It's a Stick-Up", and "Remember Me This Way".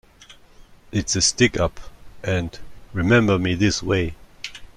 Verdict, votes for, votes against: accepted, 2, 0